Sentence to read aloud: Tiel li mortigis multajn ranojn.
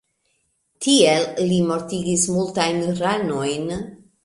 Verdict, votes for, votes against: accepted, 2, 0